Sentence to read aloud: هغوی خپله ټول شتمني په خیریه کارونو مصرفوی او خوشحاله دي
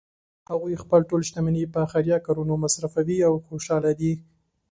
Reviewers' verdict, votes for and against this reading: accepted, 2, 0